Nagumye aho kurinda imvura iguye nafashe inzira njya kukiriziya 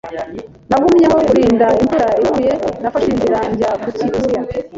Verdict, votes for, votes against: accepted, 2, 1